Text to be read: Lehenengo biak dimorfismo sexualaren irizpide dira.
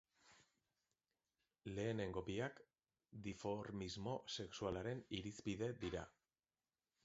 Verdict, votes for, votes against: rejected, 1, 2